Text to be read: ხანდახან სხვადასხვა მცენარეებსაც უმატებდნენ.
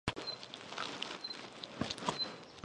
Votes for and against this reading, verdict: 1, 2, rejected